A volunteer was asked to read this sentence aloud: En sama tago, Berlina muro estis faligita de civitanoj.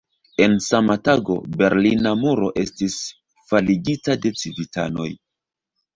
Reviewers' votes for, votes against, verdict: 0, 2, rejected